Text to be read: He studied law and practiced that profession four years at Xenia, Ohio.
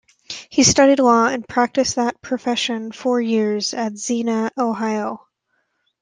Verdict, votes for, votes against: accepted, 2, 1